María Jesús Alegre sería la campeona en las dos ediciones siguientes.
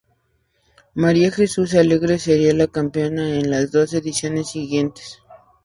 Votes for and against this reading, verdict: 4, 0, accepted